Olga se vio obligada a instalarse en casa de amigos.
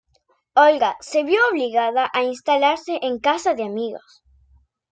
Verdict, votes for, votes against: rejected, 1, 2